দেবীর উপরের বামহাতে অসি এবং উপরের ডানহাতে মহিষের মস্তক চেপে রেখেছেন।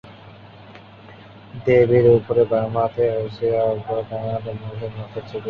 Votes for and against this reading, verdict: 0, 3, rejected